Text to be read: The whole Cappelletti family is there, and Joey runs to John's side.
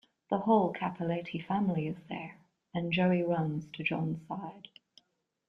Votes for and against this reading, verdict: 2, 0, accepted